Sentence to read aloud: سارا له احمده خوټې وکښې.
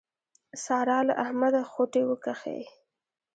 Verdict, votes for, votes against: rejected, 0, 2